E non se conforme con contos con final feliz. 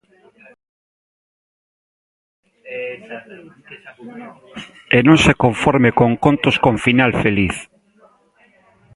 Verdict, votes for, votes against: rejected, 0, 2